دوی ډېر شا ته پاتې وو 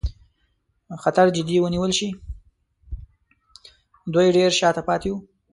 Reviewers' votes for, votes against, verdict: 0, 2, rejected